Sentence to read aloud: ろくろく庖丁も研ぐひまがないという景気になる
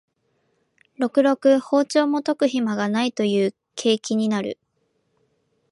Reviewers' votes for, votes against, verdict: 2, 0, accepted